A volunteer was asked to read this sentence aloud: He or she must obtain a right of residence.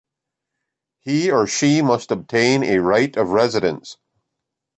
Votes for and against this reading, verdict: 2, 0, accepted